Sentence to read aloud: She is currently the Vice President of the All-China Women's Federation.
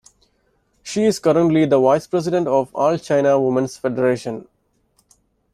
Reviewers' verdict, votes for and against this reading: rejected, 1, 2